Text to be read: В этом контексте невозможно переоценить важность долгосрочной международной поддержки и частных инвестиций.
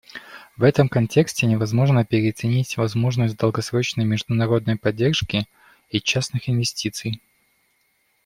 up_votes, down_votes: 0, 2